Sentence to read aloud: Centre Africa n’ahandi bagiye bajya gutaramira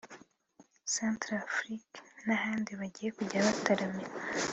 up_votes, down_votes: 2, 0